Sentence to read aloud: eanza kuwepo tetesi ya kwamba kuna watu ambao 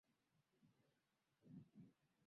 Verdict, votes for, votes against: rejected, 0, 2